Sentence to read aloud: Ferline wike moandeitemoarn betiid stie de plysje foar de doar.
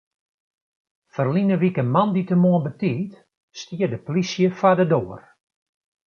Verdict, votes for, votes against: accepted, 2, 0